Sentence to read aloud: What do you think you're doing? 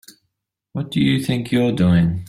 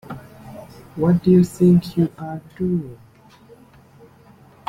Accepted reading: first